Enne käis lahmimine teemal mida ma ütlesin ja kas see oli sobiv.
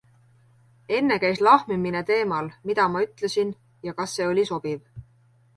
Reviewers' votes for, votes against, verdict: 2, 0, accepted